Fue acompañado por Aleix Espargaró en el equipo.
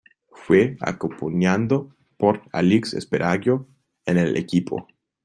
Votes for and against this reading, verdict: 0, 2, rejected